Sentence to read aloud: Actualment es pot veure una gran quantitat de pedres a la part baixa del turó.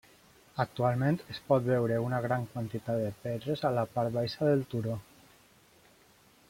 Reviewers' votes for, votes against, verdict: 3, 0, accepted